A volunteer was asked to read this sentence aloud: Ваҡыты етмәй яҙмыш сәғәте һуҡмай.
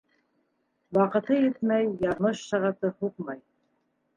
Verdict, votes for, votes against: rejected, 1, 2